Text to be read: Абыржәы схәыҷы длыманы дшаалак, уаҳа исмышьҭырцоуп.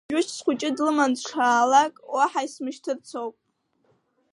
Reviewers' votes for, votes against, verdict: 1, 3, rejected